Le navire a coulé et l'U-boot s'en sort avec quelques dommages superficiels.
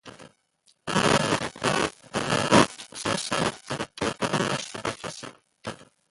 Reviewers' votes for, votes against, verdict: 1, 2, rejected